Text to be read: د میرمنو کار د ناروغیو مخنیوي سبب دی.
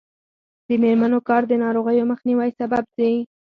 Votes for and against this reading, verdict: 2, 4, rejected